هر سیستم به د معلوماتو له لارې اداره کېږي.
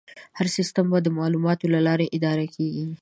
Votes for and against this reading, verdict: 2, 0, accepted